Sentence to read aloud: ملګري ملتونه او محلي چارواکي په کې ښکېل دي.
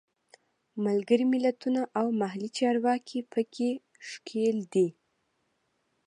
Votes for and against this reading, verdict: 2, 0, accepted